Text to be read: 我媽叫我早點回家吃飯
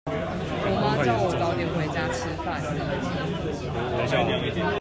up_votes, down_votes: 1, 2